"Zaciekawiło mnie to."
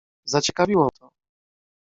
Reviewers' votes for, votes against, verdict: 0, 2, rejected